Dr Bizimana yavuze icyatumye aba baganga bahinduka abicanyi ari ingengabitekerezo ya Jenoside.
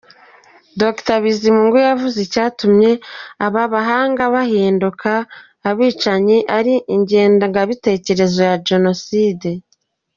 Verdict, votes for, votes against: rejected, 1, 2